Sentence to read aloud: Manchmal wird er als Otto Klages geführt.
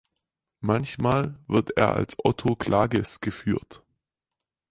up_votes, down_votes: 4, 0